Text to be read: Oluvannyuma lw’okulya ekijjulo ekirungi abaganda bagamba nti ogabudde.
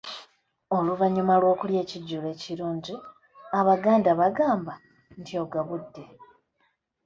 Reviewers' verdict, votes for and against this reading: accepted, 2, 0